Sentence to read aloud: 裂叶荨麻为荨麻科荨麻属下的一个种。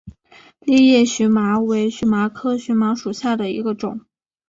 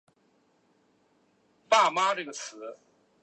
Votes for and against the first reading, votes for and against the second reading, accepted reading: 2, 1, 0, 2, first